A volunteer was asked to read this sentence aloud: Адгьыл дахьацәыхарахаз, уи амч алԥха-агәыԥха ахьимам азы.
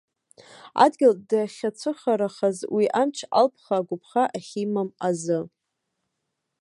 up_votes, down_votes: 1, 2